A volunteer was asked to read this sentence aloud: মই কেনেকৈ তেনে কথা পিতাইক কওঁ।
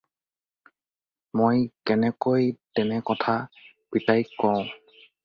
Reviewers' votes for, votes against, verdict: 2, 0, accepted